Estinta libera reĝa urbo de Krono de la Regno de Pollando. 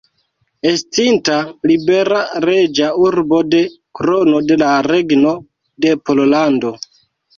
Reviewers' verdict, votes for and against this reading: accepted, 2, 0